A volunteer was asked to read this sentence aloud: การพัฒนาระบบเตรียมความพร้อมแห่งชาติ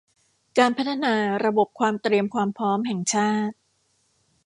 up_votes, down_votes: 1, 2